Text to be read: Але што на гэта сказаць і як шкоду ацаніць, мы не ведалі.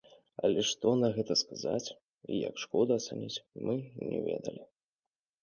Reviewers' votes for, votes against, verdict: 1, 2, rejected